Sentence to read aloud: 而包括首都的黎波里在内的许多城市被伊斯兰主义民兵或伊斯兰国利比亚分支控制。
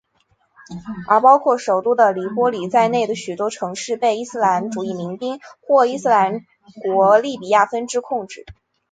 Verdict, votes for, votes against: accepted, 9, 0